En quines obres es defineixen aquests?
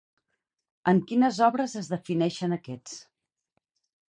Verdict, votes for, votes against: rejected, 0, 2